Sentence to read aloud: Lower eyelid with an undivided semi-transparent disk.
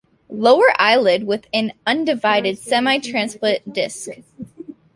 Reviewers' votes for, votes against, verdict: 0, 2, rejected